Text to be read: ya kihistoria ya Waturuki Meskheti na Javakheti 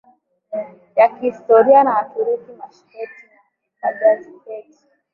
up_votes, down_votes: 1, 2